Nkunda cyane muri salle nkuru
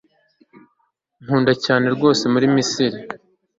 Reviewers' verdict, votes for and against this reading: rejected, 0, 3